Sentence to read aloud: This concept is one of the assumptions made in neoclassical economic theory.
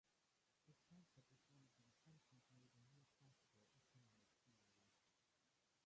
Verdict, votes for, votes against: rejected, 0, 2